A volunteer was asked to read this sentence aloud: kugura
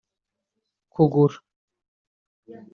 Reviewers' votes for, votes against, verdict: 3, 0, accepted